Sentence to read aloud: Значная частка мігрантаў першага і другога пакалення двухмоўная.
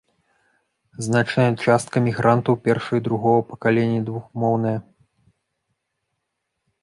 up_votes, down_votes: 1, 2